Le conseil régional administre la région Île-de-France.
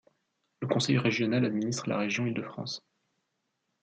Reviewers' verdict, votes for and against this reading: accepted, 2, 0